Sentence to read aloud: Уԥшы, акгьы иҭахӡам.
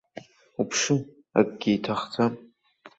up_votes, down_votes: 2, 1